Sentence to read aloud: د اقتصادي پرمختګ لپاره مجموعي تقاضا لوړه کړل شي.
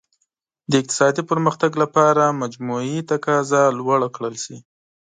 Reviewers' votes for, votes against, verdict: 2, 0, accepted